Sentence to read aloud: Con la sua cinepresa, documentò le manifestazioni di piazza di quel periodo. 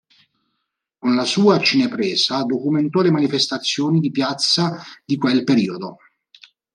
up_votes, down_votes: 2, 0